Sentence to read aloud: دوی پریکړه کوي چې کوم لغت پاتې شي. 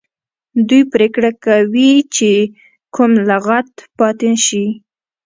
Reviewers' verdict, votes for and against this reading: rejected, 1, 2